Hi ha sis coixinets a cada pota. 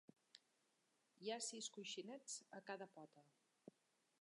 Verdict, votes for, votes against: accepted, 3, 1